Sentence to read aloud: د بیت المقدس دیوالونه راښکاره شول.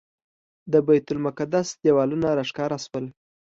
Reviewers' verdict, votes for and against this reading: accepted, 2, 0